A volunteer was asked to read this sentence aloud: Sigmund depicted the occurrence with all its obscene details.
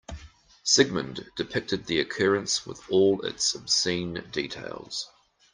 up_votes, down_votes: 2, 0